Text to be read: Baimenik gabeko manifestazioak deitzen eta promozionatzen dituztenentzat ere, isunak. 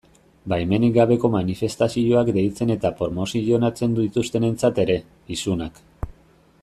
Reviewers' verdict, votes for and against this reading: rejected, 1, 2